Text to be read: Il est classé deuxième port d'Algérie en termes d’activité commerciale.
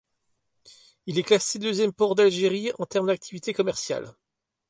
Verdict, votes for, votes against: accepted, 2, 0